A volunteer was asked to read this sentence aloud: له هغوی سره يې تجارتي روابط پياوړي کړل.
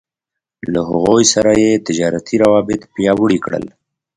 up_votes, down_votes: 3, 0